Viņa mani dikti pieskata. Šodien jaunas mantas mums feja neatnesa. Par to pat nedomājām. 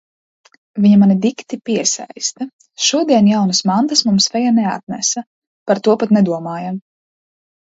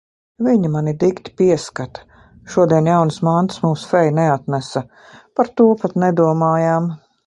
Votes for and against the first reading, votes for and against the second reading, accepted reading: 0, 2, 3, 0, second